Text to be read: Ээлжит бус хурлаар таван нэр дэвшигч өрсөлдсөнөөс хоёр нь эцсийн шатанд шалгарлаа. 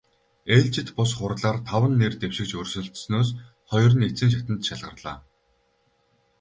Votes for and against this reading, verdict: 2, 2, rejected